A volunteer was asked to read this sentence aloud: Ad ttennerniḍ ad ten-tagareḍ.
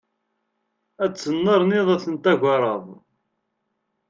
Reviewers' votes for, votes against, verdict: 2, 0, accepted